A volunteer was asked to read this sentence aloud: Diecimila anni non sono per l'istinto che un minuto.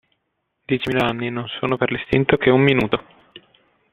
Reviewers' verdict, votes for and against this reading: accepted, 2, 0